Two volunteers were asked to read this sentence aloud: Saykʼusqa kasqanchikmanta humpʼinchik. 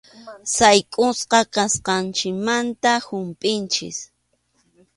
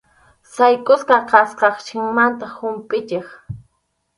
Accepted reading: first